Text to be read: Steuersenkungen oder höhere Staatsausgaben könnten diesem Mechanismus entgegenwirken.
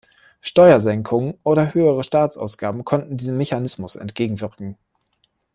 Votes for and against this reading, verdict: 0, 2, rejected